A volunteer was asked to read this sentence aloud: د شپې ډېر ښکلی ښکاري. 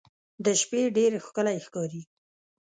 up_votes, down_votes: 2, 0